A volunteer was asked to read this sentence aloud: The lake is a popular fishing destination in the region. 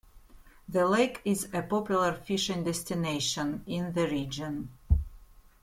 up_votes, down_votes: 2, 0